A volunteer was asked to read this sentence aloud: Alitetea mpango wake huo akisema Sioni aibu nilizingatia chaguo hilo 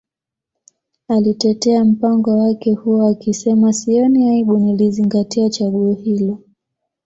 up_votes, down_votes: 2, 0